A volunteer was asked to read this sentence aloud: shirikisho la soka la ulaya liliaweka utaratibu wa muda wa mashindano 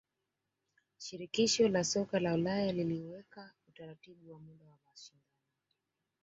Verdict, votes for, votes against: accepted, 2, 0